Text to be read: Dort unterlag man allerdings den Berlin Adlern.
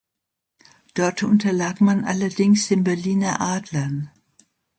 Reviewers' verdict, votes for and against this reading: rejected, 1, 2